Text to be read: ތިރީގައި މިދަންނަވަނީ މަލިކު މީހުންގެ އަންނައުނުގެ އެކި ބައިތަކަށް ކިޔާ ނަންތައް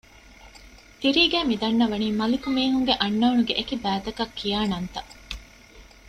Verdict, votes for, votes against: accepted, 2, 0